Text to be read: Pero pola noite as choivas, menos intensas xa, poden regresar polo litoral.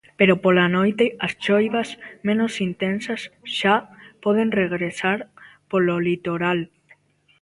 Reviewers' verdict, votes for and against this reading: rejected, 1, 2